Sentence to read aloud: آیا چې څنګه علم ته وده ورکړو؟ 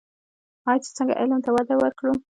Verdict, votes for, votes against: rejected, 1, 2